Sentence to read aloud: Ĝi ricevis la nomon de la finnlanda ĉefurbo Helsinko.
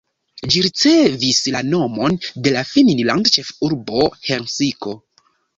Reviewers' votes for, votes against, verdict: 0, 3, rejected